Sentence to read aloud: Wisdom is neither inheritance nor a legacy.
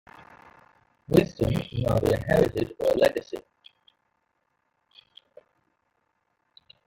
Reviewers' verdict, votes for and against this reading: rejected, 0, 2